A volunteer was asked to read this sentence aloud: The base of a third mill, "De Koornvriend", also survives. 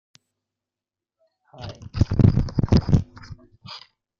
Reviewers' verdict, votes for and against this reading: rejected, 0, 2